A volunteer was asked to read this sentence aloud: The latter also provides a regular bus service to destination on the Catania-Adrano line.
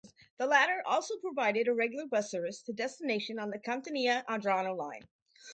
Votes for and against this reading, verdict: 0, 2, rejected